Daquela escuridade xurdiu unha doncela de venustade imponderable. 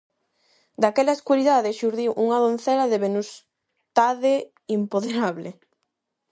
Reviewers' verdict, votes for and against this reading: rejected, 0, 8